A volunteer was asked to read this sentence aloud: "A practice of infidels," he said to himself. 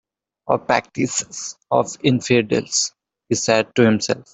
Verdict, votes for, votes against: rejected, 1, 2